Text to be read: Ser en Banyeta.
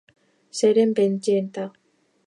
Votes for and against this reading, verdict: 0, 2, rejected